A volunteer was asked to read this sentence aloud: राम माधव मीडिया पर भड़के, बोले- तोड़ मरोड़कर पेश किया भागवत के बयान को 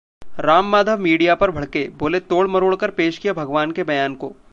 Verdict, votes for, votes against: accepted, 2, 0